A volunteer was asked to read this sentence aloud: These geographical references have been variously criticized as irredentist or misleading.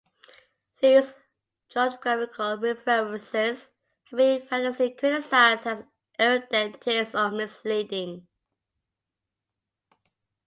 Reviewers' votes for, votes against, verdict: 1, 2, rejected